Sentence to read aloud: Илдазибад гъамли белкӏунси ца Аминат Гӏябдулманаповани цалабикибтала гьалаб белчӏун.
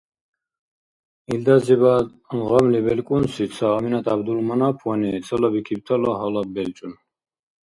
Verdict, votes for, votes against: accepted, 2, 0